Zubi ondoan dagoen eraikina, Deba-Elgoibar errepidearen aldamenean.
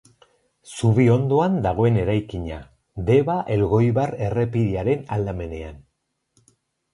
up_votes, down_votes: 4, 0